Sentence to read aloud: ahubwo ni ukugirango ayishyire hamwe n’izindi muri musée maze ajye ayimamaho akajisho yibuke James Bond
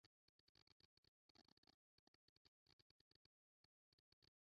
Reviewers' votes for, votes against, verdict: 0, 2, rejected